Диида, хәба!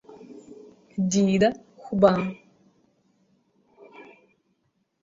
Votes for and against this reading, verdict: 2, 1, accepted